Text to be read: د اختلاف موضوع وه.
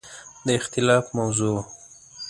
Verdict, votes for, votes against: accepted, 2, 0